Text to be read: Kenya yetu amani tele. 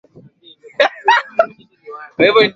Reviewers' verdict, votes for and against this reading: rejected, 0, 2